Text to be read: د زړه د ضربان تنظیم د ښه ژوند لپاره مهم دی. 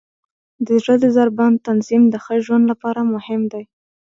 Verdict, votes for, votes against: accepted, 2, 0